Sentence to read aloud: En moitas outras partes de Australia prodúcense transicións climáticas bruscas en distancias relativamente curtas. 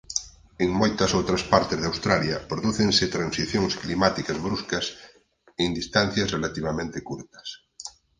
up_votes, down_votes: 4, 0